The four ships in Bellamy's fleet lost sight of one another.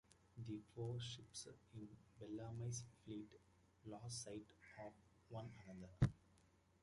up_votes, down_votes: 1, 2